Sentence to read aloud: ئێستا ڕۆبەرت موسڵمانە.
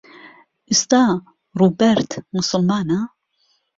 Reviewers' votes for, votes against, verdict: 1, 2, rejected